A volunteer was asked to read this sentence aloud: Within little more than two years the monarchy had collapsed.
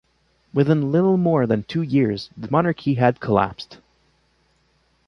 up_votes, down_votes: 2, 0